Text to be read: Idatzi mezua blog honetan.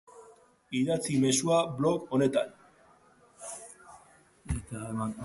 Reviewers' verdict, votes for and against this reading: accepted, 2, 1